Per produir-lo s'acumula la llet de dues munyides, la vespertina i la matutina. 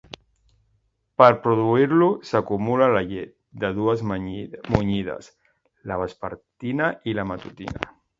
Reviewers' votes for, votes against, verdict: 1, 2, rejected